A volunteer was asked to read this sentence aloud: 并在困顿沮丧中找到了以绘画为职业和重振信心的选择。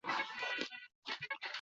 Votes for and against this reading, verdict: 0, 5, rejected